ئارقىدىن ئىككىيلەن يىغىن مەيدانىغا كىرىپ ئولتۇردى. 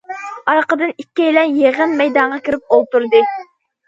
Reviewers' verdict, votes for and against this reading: accepted, 2, 0